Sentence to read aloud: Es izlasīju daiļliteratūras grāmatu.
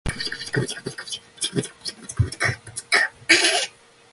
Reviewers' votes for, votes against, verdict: 0, 2, rejected